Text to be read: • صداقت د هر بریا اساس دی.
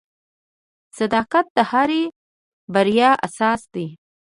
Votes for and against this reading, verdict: 1, 2, rejected